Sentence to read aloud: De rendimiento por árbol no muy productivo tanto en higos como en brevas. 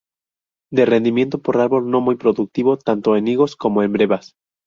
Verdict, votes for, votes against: rejected, 0, 2